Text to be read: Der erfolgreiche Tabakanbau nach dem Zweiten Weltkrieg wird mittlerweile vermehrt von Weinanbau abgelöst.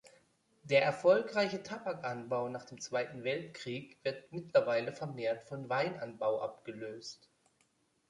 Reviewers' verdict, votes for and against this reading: accepted, 2, 0